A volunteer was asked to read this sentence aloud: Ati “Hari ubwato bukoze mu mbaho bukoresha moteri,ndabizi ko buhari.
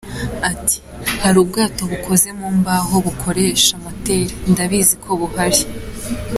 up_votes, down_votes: 2, 0